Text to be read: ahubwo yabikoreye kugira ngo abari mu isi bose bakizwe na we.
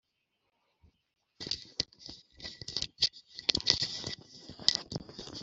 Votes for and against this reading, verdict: 0, 2, rejected